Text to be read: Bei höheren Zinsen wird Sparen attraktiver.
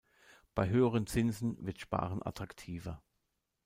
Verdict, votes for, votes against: accepted, 2, 0